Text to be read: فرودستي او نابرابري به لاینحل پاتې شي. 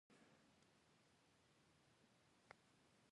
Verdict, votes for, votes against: rejected, 1, 2